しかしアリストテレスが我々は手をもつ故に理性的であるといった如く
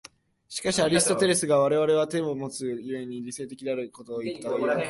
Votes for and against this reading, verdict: 1, 2, rejected